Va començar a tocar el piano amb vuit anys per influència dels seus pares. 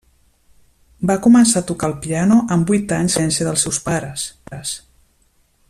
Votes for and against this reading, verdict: 0, 2, rejected